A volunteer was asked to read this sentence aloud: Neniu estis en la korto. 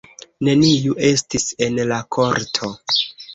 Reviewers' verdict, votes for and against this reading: accepted, 2, 0